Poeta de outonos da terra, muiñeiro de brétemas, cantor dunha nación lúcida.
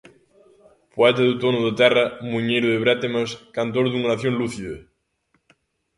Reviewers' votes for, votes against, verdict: 0, 2, rejected